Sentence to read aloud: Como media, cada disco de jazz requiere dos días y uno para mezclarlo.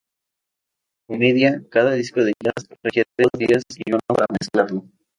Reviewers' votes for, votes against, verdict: 2, 4, rejected